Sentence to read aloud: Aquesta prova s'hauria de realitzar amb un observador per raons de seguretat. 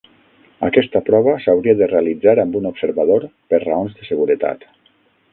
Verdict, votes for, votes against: rejected, 0, 6